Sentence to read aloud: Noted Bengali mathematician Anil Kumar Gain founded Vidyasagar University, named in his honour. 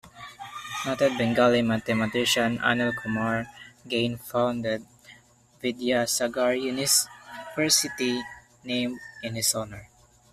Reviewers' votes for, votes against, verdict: 0, 2, rejected